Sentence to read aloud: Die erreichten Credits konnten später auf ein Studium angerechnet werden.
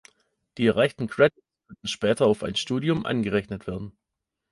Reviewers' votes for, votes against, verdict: 0, 3, rejected